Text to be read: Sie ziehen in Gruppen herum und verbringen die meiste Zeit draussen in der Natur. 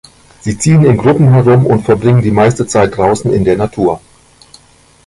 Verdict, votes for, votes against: rejected, 1, 2